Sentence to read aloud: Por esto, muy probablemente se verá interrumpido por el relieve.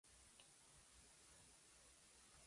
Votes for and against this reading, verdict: 0, 2, rejected